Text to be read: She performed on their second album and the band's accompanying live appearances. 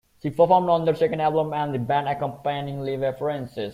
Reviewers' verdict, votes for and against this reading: accepted, 2, 0